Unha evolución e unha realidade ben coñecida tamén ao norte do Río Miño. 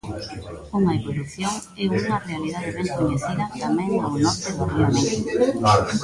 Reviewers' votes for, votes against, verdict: 1, 2, rejected